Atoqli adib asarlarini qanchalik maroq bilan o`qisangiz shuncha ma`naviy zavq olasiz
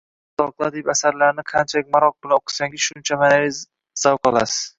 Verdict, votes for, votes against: rejected, 1, 2